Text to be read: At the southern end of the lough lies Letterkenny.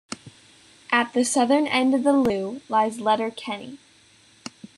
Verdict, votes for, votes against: accepted, 2, 0